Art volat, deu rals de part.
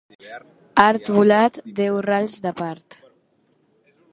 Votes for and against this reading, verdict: 2, 0, accepted